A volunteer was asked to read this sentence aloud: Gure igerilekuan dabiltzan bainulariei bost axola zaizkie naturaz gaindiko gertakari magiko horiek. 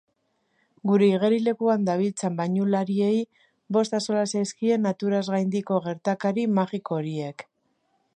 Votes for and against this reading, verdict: 2, 0, accepted